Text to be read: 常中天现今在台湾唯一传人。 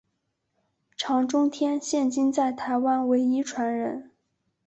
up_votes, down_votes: 3, 1